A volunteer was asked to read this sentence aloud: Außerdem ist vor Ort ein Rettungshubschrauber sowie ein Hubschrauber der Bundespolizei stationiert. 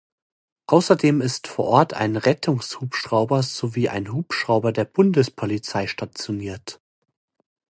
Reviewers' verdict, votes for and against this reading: accepted, 2, 0